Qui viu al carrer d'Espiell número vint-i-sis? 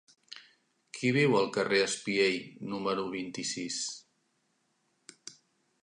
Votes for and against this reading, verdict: 0, 2, rejected